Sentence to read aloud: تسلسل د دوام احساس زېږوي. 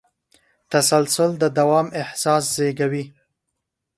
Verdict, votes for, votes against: accepted, 2, 0